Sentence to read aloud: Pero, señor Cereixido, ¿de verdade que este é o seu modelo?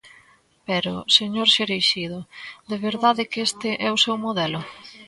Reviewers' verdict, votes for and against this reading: accepted, 2, 0